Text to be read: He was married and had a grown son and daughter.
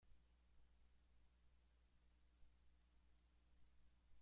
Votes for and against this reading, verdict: 0, 2, rejected